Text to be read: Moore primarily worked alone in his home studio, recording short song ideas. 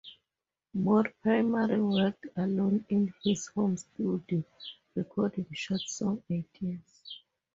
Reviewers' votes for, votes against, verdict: 2, 2, rejected